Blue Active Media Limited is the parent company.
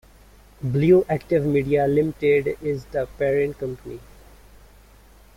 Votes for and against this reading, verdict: 2, 1, accepted